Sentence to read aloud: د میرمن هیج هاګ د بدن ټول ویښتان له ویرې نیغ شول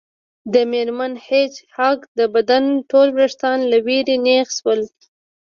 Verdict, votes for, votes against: accepted, 2, 0